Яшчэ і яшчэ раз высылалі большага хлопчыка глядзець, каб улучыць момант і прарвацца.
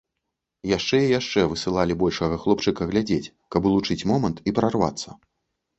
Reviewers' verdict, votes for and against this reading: rejected, 0, 2